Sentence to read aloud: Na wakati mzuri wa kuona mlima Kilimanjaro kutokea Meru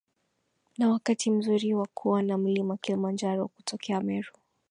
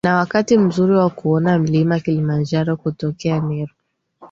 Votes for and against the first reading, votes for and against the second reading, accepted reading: 0, 2, 2, 0, second